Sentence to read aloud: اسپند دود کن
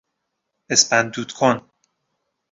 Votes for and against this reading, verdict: 2, 0, accepted